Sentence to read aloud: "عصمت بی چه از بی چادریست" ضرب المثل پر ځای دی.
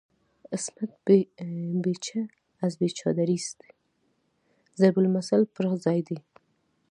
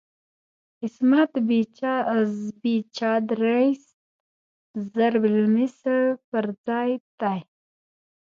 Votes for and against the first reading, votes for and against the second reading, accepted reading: 2, 0, 0, 2, first